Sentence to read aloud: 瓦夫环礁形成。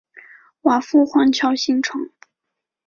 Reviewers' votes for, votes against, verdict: 3, 0, accepted